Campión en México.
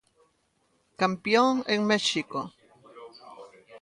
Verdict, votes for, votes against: rejected, 1, 2